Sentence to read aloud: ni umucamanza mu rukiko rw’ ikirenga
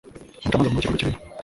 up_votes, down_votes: 1, 2